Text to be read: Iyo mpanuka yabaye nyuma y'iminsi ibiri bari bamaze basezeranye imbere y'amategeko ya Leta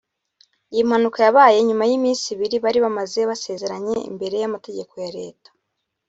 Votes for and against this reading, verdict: 1, 2, rejected